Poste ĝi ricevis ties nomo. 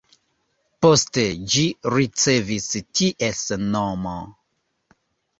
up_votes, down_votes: 3, 0